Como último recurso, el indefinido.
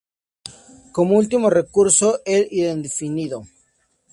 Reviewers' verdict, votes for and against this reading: accepted, 2, 0